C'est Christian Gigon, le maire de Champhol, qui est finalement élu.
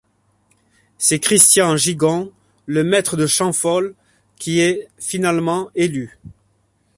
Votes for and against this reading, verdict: 1, 2, rejected